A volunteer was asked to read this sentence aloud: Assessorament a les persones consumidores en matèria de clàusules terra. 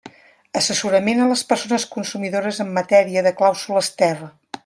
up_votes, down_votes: 3, 0